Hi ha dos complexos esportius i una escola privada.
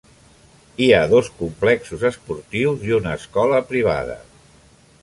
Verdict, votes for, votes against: accepted, 3, 0